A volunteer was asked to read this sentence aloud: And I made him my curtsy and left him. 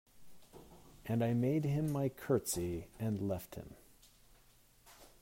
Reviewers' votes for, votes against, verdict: 1, 2, rejected